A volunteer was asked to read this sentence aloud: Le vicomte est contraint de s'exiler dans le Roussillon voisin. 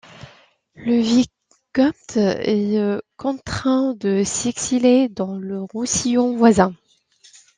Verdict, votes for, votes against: rejected, 0, 2